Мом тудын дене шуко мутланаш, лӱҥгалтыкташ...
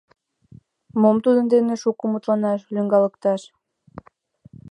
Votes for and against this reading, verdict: 1, 2, rejected